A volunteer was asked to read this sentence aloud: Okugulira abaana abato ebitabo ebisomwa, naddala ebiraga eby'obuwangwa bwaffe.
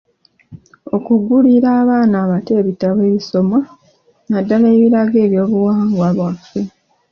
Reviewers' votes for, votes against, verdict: 2, 0, accepted